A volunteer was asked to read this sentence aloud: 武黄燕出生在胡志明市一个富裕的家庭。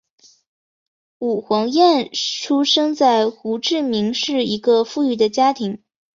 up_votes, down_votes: 3, 0